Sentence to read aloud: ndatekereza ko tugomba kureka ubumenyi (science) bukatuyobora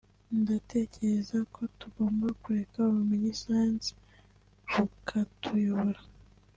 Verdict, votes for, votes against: rejected, 1, 2